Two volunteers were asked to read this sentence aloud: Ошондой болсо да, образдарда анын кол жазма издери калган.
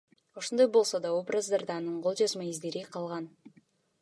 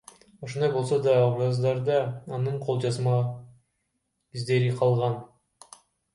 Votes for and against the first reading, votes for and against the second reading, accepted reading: 3, 0, 1, 2, first